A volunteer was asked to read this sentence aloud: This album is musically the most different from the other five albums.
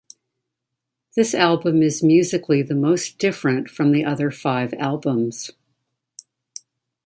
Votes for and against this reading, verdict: 2, 0, accepted